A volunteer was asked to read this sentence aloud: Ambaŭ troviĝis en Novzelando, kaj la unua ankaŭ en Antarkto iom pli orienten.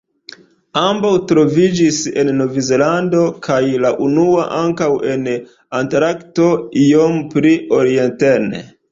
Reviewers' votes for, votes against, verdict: 2, 0, accepted